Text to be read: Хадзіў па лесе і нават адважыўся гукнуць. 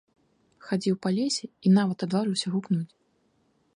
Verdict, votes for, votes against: accepted, 2, 0